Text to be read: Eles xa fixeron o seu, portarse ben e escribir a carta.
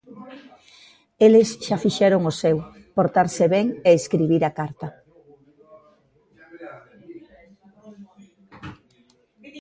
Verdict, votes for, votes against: rejected, 0, 2